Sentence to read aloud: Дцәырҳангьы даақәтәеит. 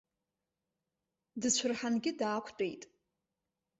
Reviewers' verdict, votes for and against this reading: rejected, 2, 4